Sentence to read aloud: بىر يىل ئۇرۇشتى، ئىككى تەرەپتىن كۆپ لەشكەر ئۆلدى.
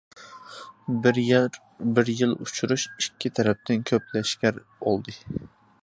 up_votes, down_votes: 0, 2